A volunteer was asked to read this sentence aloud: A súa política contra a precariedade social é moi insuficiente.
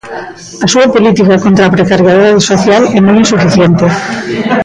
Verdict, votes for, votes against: rejected, 0, 2